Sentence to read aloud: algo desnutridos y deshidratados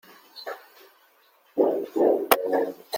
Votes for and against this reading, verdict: 0, 2, rejected